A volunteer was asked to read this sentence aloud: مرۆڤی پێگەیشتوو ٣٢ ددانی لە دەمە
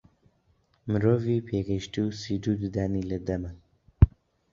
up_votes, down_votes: 0, 2